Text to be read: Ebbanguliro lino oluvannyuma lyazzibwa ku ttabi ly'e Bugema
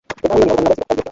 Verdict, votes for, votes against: rejected, 0, 3